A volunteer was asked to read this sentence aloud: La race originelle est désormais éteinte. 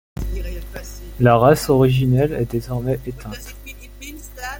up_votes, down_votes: 1, 2